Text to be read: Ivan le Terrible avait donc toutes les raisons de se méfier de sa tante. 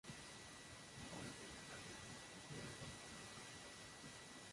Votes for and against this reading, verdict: 0, 2, rejected